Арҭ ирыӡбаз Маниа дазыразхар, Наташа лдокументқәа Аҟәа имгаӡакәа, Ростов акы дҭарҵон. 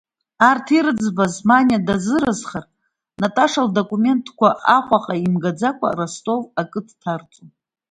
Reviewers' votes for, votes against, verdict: 0, 2, rejected